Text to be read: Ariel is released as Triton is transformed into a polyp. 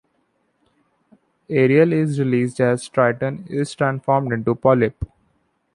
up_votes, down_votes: 1, 2